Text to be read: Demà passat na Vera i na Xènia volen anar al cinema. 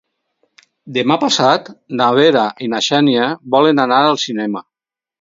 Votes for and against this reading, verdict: 4, 0, accepted